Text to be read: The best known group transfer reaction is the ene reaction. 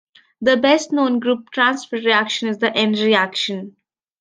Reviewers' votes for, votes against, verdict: 2, 1, accepted